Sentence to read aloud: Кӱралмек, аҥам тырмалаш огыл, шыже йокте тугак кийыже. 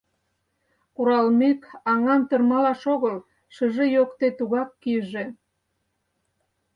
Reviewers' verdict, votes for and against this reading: rejected, 0, 4